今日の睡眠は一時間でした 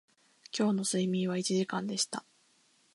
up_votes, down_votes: 2, 0